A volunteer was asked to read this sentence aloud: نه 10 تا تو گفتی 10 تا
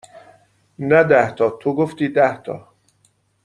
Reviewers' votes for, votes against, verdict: 0, 2, rejected